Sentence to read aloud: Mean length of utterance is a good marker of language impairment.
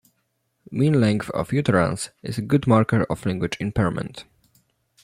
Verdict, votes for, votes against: rejected, 0, 2